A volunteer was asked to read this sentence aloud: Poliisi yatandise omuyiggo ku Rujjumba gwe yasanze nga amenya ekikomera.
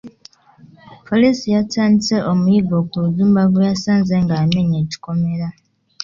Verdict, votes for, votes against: accepted, 2, 0